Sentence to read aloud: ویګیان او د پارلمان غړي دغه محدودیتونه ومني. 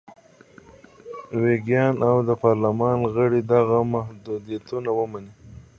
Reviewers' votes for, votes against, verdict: 2, 1, accepted